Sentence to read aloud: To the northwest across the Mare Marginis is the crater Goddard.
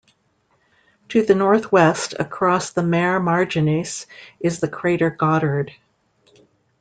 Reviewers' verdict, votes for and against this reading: accepted, 2, 0